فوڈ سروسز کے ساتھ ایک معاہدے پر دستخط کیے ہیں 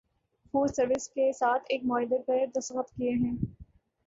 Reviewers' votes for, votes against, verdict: 0, 2, rejected